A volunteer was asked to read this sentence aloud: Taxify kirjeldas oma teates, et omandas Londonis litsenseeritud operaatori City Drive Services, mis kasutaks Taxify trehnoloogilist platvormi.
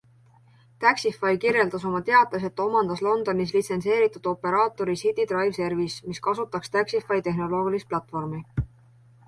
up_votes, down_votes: 1, 2